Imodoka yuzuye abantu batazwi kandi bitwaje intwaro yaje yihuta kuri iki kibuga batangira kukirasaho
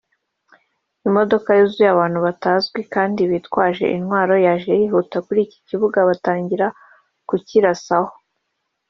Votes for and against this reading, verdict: 1, 2, rejected